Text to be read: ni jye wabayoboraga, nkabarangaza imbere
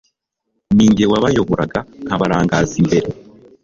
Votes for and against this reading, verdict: 2, 0, accepted